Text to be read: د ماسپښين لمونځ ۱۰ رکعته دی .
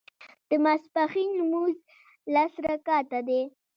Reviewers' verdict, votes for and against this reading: rejected, 0, 2